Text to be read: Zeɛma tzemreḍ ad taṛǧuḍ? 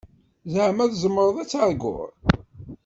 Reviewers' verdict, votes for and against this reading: rejected, 0, 2